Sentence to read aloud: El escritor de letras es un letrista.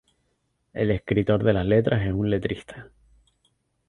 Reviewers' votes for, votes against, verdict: 0, 2, rejected